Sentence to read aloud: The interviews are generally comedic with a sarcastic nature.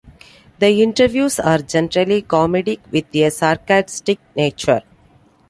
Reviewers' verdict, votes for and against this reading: rejected, 0, 2